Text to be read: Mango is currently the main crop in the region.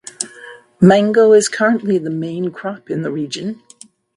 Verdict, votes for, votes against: accepted, 3, 0